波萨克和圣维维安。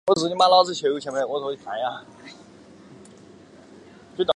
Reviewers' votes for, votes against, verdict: 2, 0, accepted